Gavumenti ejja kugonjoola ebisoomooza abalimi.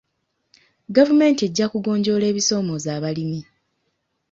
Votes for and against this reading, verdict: 3, 0, accepted